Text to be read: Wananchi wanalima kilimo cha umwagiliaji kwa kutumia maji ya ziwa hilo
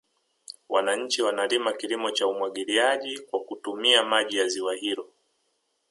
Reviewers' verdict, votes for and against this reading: rejected, 1, 2